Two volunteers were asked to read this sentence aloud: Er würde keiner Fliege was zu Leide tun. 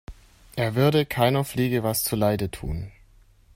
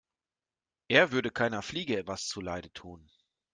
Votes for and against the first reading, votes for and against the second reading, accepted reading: 3, 0, 1, 2, first